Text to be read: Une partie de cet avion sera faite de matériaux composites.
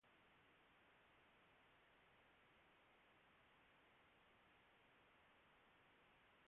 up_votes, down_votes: 0, 2